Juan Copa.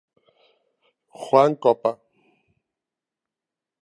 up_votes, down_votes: 2, 0